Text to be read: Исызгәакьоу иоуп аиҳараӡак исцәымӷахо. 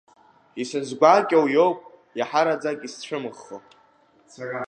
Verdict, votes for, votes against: rejected, 0, 2